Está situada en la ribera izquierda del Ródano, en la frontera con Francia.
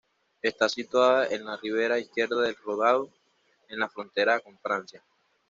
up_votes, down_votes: 1, 2